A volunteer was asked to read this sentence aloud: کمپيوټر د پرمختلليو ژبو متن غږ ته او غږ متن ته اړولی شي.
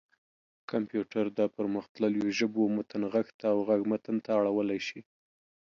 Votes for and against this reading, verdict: 2, 0, accepted